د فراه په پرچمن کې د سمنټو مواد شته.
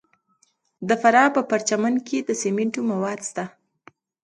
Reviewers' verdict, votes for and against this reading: accepted, 2, 0